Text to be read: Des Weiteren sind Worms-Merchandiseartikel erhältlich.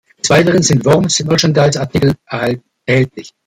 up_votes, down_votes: 0, 2